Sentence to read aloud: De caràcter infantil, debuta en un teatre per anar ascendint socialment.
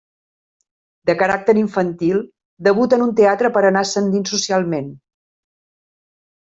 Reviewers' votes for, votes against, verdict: 3, 0, accepted